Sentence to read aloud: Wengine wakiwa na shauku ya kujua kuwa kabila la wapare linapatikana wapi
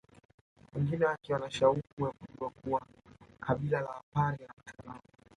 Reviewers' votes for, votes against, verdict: 1, 2, rejected